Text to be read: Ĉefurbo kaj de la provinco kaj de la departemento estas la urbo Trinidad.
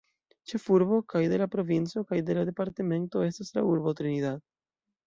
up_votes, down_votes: 2, 0